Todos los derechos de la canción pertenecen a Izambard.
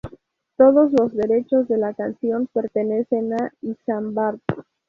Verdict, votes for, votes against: rejected, 0, 2